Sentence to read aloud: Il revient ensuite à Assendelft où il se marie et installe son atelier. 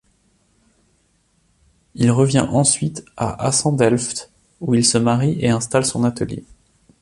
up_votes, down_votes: 2, 0